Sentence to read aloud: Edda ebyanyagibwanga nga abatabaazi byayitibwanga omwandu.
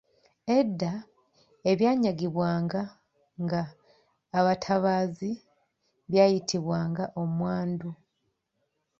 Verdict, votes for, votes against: rejected, 1, 2